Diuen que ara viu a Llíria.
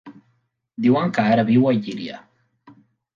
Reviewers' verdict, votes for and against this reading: accepted, 2, 0